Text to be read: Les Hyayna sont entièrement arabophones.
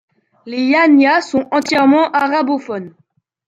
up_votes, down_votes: 1, 2